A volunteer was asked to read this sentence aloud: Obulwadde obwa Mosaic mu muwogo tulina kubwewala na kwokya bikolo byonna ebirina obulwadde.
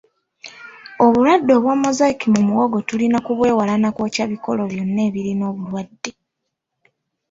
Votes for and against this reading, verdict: 2, 0, accepted